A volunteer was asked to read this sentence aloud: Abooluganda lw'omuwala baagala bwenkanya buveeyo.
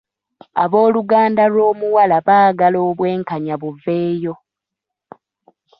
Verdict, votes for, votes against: rejected, 0, 2